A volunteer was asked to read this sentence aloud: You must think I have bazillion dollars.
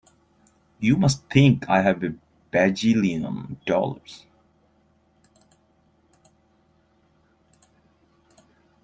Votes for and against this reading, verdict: 0, 2, rejected